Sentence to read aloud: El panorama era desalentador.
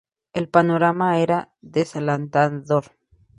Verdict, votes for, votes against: rejected, 0, 2